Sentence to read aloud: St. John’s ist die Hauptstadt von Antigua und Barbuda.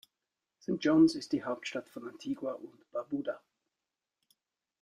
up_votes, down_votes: 0, 2